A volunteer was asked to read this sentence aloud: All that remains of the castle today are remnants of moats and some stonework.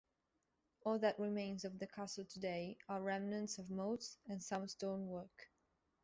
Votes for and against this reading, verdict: 1, 2, rejected